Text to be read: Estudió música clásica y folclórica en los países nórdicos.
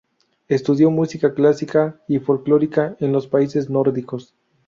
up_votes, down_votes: 4, 0